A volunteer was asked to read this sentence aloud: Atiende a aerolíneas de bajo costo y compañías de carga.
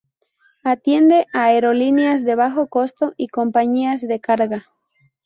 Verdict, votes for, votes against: accepted, 4, 0